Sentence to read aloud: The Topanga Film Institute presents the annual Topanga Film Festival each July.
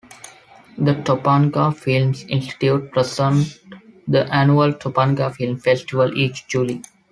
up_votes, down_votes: 1, 2